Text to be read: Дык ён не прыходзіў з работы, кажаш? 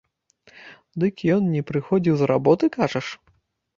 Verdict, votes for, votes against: accepted, 2, 0